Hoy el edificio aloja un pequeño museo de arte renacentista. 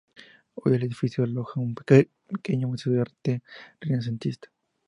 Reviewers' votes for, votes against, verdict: 0, 2, rejected